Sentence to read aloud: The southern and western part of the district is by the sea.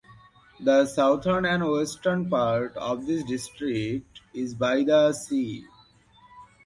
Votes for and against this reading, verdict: 2, 0, accepted